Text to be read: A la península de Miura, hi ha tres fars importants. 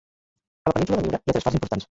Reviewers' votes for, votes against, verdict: 0, 2, rejected